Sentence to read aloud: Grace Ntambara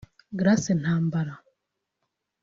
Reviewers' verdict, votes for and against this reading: accepted, 2, 1